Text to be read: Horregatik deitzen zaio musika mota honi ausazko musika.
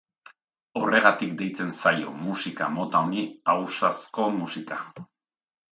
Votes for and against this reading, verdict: 2, 0, accepted